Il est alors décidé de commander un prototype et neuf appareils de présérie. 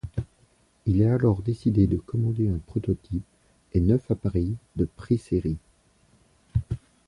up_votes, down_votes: 2, 0